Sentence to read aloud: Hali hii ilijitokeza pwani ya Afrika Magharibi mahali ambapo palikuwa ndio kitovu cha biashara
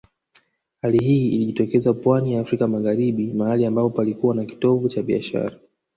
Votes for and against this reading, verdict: 3, 1, accepted